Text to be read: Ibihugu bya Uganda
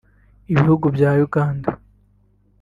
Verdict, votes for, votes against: rejected, 1, 2